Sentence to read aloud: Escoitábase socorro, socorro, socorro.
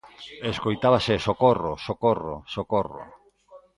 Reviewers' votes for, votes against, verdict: 1, 2, rejected